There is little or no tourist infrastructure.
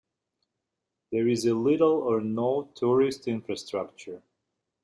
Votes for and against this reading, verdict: 1, 2, rejected